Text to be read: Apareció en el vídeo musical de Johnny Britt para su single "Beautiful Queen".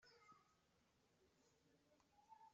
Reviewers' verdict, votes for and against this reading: rejected, 0, 2